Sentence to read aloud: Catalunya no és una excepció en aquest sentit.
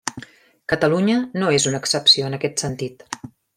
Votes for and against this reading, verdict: 3, 0, accepted